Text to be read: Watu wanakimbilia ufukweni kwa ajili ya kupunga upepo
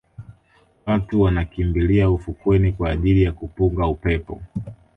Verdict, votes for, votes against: accepted, 2, 1